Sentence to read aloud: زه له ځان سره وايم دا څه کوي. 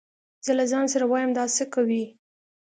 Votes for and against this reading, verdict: 2, 0, accepted